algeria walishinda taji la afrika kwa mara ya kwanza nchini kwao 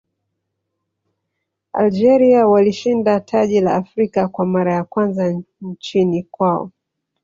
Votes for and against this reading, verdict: 1, 2, rejected